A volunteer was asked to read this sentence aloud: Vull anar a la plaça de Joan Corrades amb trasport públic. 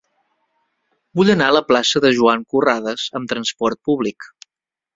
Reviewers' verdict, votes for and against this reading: accepted, 3, 0